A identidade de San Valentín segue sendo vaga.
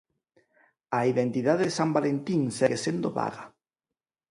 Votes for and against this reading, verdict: 4, 0, accepted